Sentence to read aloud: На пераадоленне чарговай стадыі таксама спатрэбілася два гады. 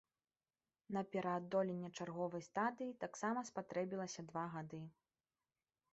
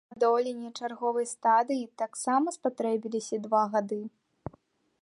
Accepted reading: first